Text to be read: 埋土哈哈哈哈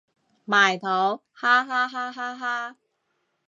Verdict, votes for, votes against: rejected, 0, 2